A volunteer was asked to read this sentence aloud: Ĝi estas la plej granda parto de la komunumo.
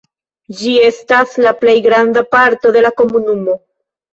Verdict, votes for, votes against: rejected, 1, 2